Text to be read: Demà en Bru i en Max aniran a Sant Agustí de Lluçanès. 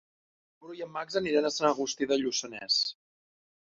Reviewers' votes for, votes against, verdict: 0, 2, rejected